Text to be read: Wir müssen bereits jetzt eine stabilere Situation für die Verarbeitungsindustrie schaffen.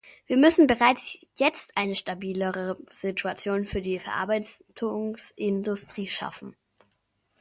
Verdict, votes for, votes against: rejected, 1, 2